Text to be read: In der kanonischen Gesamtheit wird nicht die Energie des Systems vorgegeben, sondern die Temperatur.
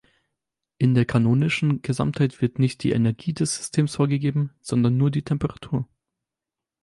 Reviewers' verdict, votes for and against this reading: rejected, 0, 4